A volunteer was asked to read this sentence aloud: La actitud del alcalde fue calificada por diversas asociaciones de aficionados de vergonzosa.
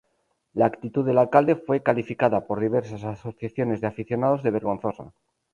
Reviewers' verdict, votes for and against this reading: rejected, 2, 2